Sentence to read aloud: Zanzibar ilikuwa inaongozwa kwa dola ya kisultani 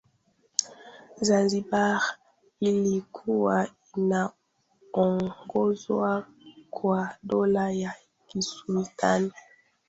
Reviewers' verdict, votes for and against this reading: rejected, 1, 2